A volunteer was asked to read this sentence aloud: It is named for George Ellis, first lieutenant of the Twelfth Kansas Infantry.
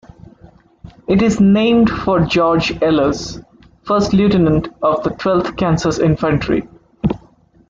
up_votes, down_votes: 1, 2